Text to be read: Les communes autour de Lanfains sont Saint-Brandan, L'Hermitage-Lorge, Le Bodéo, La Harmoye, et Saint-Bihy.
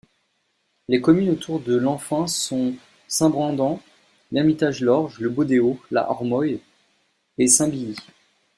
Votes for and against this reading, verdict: 1, 2, rejected